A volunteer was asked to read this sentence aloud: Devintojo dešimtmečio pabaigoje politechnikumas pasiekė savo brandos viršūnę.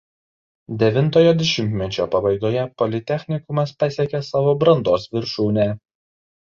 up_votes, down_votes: 2, 0